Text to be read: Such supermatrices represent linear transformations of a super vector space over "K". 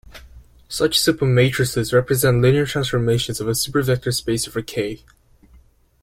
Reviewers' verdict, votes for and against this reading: accepted, 2, 0